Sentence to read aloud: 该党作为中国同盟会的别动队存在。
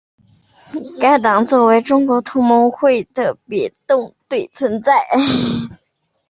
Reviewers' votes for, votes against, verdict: 2, 0, accepted